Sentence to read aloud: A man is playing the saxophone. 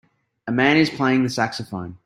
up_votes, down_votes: 2, 1